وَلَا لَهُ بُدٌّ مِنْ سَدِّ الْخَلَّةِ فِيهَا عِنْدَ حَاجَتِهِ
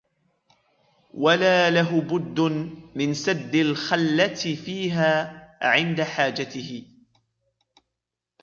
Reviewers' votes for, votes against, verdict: 2, 1, accepted